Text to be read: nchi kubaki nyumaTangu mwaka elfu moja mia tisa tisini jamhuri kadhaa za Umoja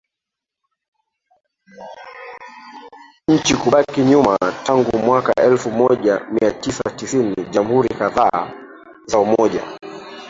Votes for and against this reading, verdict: 1, 2, rejected